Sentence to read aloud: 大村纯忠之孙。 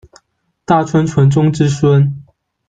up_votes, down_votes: 1, 2